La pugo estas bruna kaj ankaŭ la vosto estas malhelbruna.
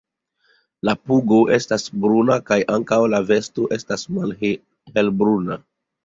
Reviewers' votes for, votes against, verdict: 0, 2, rejected